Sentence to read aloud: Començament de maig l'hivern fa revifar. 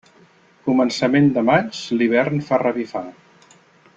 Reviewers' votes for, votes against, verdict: 3, 0, accepted